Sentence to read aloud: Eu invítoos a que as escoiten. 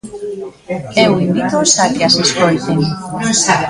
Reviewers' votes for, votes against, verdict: 0, 2, rejected